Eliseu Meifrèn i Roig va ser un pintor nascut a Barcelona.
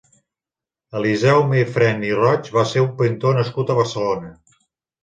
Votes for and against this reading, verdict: 2, 0, accepted